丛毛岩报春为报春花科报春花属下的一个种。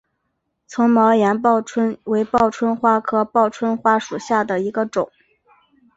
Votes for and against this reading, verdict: 3, 2, accepted